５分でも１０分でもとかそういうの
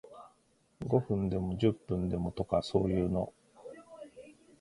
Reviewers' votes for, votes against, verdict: 0, 2, rejected